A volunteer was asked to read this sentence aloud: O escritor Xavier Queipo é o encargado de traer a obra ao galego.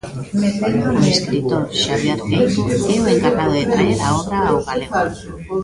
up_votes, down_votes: 0, 2